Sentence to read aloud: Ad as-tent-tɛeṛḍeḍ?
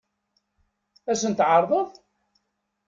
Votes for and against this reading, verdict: 0, 2, rejected